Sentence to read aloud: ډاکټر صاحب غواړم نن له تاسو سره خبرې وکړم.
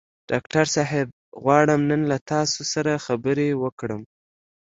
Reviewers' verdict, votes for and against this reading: accepted, 2, 0